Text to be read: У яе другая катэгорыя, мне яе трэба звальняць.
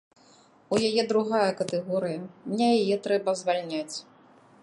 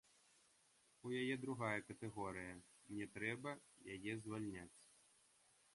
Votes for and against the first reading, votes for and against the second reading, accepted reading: 2, 0, 1, 2, first